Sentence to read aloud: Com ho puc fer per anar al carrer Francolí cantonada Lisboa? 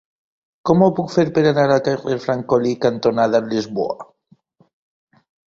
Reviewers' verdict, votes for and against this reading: rejected, 1, 2